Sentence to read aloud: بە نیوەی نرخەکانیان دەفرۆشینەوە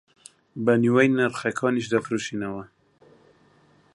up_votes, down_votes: 1, 2